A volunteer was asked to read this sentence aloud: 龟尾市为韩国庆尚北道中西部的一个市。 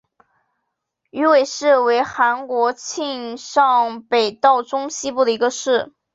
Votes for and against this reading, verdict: 3, 2, accepted